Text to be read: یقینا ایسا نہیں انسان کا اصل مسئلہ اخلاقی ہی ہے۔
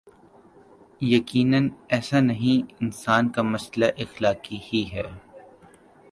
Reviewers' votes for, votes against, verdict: 0, 2, rejected